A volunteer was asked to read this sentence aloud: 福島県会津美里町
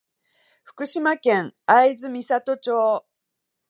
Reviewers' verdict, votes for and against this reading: accepted, 2, 0